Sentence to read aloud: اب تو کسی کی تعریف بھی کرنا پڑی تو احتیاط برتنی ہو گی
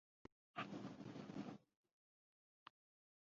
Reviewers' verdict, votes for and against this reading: rejected, 0, 2